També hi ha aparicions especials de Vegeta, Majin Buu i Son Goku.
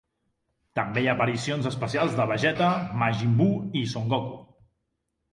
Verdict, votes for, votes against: accepted, 2, 0